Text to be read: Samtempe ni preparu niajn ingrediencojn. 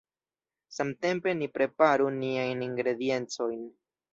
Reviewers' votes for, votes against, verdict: 1, 2, rejected